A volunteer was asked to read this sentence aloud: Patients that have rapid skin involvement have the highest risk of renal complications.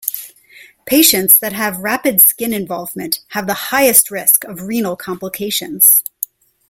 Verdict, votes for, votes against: accepted, 2, 0